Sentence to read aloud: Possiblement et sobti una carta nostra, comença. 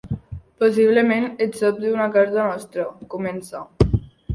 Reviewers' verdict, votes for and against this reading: accepted, 2, 1